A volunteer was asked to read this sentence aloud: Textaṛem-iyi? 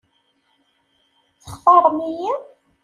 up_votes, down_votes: 2, 0